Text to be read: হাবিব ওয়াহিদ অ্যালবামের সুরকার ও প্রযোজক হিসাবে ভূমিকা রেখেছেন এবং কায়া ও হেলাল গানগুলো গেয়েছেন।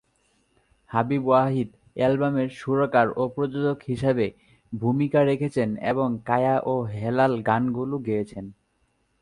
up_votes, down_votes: 5, 2